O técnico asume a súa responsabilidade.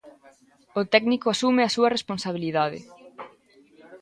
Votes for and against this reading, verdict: 2, 0, accepted